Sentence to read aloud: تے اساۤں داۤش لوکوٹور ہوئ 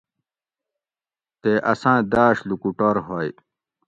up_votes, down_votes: 2, 0